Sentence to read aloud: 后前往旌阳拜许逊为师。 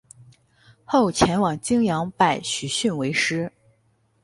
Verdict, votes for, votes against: rejected, 2, 2